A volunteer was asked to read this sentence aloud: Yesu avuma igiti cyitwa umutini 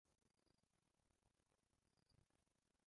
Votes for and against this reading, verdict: 0, 2, rejected